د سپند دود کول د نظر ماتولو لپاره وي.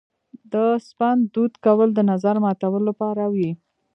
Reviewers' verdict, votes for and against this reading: rejected, 0, 2